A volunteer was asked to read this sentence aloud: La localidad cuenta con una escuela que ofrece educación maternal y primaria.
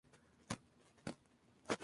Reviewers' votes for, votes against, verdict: 0, 4, rejected